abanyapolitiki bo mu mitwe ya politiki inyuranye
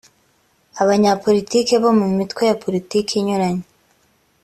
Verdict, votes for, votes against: accepted, 2, 0